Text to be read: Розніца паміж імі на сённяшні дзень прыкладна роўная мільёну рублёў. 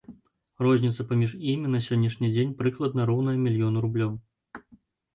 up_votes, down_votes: 2, 0